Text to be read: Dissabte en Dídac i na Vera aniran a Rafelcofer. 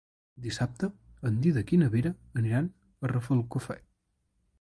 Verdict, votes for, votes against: accepted, 2, 0